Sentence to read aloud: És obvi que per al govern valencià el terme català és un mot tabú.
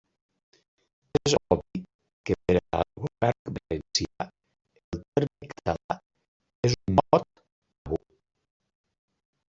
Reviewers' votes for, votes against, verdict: 0, 2, rejected